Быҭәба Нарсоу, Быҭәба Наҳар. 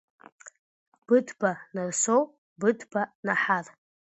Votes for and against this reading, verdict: 2, 1, accepted